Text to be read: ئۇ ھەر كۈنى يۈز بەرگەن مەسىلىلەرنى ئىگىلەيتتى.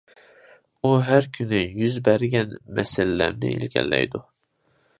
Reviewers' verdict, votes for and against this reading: rejected, 0, 2